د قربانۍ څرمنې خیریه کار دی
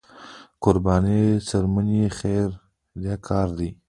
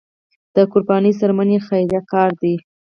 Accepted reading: first